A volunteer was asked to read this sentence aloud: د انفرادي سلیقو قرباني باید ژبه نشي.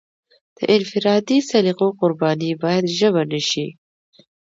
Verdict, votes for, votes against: accepted, 2, 0